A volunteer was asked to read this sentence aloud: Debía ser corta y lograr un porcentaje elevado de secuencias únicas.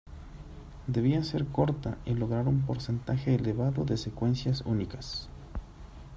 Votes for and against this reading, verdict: 1, 2, rejected